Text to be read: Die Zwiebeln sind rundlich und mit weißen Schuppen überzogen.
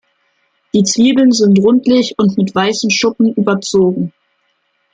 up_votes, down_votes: 2, 0